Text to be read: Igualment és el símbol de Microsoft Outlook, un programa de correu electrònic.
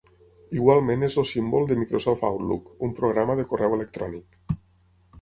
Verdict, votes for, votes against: accepted, 6, 0